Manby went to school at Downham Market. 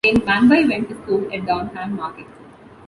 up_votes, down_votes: 0, 2